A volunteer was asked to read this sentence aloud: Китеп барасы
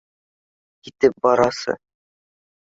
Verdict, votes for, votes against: accepted, 2, 0